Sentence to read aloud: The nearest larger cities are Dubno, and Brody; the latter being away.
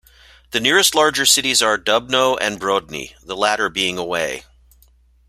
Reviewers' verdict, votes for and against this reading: rejected, 1, 2